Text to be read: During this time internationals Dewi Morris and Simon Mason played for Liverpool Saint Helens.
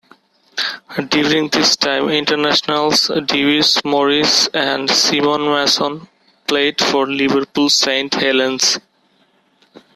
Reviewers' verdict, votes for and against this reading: accepted, 2, 0